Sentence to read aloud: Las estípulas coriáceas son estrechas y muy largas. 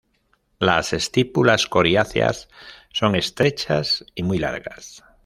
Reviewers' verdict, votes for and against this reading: accepted, 2, 0